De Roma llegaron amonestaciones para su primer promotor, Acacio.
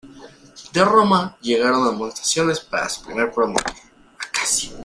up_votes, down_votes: 1, 2